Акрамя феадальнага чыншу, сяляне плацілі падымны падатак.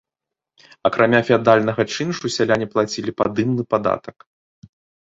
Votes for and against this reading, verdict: 2, 0, accepted